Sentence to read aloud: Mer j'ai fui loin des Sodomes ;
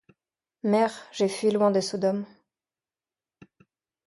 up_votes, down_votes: 2, 0